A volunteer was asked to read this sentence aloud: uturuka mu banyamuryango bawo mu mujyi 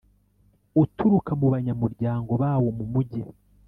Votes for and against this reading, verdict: 2, 0, accepted